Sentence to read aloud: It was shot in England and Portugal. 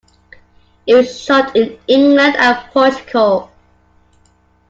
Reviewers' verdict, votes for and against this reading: rejected, 0, 2